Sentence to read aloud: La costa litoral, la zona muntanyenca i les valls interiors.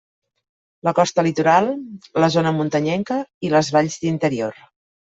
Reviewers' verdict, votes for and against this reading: rejected, 1, 2